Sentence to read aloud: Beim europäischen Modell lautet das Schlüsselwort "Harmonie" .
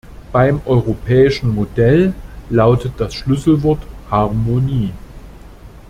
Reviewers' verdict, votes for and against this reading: accepted, 2, 0